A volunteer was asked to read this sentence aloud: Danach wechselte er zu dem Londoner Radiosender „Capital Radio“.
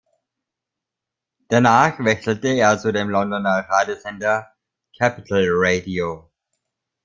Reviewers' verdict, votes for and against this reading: rejected, 0, 2